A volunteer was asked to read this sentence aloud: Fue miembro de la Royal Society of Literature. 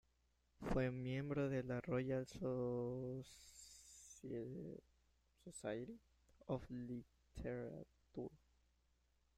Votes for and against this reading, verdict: 0, 2, rejected